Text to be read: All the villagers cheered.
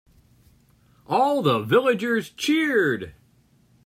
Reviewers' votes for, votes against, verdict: 3, 0, accepted